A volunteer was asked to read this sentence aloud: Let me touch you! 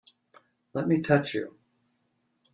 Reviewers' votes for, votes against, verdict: 2, 0, accepted